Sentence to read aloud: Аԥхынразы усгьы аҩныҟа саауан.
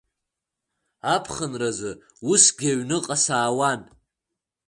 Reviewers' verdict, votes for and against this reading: accepted, 2, 0